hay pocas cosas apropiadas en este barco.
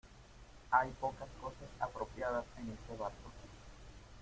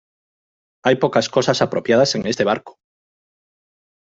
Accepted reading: second